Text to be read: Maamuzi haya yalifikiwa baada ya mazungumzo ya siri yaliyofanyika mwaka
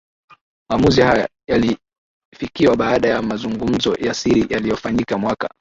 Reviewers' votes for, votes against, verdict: 6, 3, accepted